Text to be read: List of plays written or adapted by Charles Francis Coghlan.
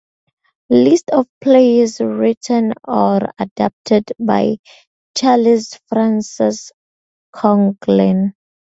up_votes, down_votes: 0, 4